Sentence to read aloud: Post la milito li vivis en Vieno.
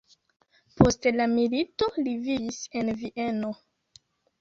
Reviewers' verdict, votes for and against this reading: rejected, 1, 2